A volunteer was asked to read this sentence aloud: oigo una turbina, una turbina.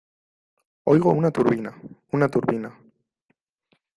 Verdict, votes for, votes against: accepted, 2, 0